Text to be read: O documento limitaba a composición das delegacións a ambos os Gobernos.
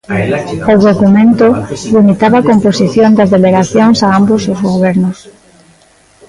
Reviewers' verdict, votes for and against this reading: rejected, 0, 2